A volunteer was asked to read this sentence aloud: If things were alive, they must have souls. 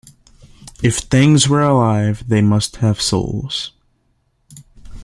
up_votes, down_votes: 2, 0